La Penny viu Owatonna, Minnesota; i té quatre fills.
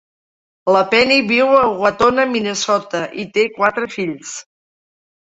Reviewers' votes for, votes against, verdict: 2, 1, accepted